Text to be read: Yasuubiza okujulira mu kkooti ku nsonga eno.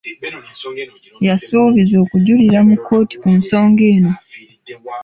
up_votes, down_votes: 2, 0